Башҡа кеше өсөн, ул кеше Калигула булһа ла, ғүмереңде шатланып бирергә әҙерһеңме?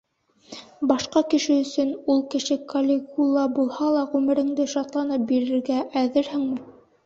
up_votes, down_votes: 2, 0